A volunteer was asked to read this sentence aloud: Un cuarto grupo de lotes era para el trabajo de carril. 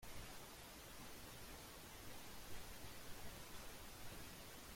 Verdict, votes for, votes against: rejected, 0, 2